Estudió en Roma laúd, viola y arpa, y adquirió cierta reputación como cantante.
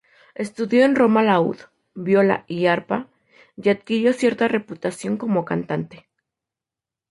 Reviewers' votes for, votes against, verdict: 0, 2, rejected